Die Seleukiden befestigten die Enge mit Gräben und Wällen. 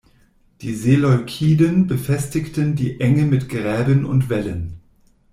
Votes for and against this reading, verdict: 2, 0, accepted